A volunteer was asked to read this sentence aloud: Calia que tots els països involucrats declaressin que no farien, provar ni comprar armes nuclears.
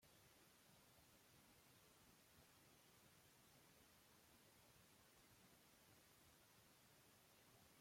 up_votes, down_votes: 0, 2